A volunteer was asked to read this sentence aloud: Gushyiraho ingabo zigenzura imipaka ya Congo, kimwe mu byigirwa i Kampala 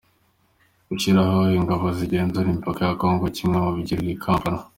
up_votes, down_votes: 2, 1